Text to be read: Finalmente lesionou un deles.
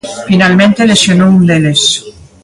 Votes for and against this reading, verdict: 3, 1, accepted